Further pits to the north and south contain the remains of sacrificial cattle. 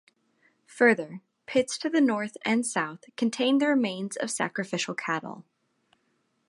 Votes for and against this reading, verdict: 2, 0, accepted